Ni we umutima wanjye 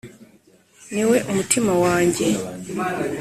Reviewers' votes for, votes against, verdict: 2, 0, accepted